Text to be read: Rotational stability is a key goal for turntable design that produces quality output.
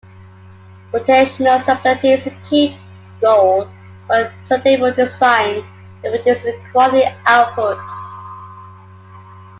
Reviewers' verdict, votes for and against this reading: rejected, 0, 2